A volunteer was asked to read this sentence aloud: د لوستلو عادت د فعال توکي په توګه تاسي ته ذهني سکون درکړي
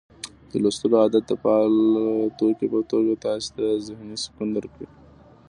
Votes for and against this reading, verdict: 2, 0, accepted